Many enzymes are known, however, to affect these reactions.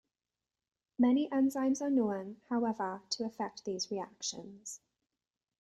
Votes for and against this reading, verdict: 1, 2, rejected